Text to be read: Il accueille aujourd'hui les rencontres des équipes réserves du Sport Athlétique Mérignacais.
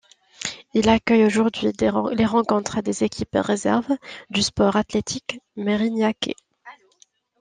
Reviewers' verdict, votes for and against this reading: rejected, 0, 2